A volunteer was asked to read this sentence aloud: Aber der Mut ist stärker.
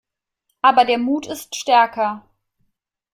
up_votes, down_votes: 2, 0